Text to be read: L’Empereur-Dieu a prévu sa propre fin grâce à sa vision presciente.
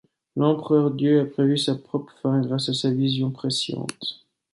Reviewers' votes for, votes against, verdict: 2, 0, accepted